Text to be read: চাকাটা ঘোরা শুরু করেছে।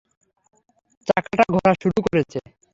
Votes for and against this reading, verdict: 0, 3, rejected